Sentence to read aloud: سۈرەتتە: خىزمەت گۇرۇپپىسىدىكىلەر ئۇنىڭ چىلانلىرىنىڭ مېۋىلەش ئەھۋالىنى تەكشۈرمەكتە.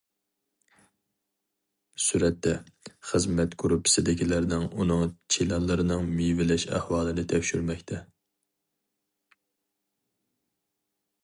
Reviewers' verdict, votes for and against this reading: rejected, 0, 4